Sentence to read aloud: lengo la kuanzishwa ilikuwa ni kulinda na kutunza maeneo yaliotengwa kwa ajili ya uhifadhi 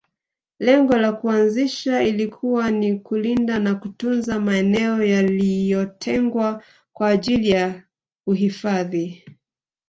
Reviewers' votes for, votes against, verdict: 0, 2, rejected